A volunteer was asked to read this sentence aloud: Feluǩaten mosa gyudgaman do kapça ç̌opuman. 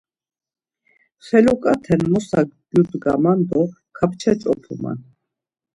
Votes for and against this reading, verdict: 2, 0, accepted